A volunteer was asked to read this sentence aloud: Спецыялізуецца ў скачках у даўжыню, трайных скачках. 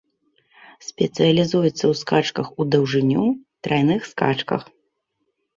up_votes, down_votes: 0, 2